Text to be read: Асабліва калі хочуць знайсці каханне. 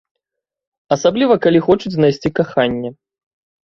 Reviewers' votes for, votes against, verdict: 2, 0, accepted